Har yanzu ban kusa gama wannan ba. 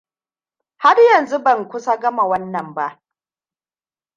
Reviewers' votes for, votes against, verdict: 2, 0, accepted